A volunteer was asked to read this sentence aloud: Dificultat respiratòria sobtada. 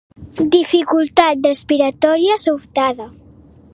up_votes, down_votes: 0, 2